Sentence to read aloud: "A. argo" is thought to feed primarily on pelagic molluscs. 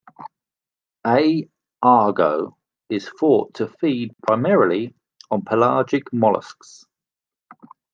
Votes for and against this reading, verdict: 1, 2, rejected